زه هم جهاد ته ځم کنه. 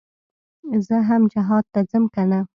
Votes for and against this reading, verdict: 2, 0, accepted